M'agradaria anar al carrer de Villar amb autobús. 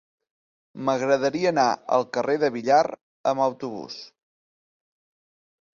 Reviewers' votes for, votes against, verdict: 0, 2, rejected